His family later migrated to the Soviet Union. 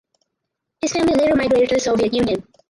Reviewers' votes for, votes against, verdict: 2, 4, rejected